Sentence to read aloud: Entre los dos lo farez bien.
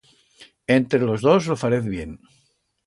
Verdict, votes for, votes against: accepted, 2, 0